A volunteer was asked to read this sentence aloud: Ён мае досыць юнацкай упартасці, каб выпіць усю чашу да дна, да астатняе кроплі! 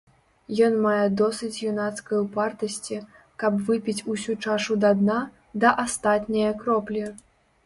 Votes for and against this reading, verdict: 3, 0, accepted